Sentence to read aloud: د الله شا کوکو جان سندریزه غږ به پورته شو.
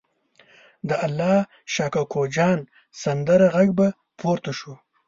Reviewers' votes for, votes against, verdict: 0, 2, rejected